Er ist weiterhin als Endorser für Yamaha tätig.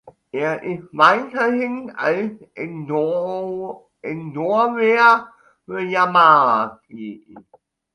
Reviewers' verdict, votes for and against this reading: rejected, 0, 2